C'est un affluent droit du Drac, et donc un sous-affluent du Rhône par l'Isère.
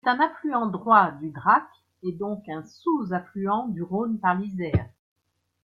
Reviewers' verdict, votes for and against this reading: accepted, 2, 0